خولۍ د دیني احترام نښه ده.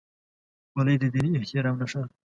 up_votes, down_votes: 1, 2